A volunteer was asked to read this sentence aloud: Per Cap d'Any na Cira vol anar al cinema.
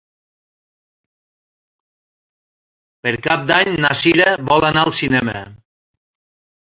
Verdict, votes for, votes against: accepted, 3, 1